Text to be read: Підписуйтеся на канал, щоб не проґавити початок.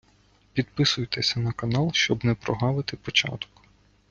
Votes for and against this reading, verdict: 1, 2, rejected